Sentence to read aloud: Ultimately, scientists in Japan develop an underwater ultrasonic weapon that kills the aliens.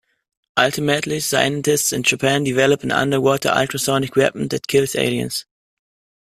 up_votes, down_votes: 1, 2